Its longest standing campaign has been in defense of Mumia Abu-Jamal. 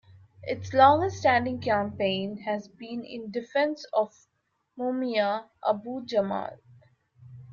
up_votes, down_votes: 2, 1